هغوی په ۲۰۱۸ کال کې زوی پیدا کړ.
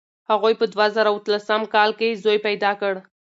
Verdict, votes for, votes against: rejected, 0, 2